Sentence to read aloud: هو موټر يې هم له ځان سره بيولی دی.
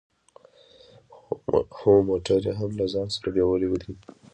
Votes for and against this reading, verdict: 1, 2, rejected